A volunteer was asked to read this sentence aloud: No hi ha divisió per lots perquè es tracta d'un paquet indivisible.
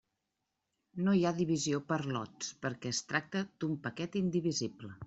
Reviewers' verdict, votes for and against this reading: accepted, 3, 1